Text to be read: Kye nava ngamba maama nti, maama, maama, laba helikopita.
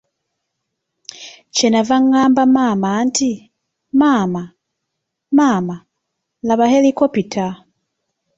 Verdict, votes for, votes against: accepted, 2, 0